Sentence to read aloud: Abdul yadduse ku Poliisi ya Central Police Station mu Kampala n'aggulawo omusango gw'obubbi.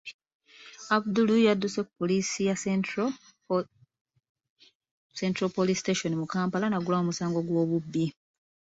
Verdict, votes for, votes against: rejected, 0, 2